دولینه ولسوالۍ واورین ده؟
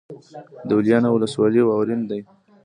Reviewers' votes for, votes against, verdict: 0, 2, rejected